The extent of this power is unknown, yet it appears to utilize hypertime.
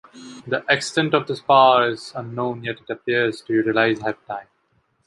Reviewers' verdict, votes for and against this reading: rejected, 1, 2